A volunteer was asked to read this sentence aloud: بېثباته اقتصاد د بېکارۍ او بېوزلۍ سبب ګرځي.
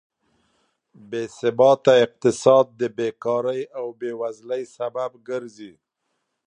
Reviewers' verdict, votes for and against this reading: accepted, 3, 0